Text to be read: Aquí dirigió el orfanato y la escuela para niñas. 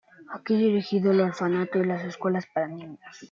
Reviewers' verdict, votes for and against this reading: rejected, 1, 2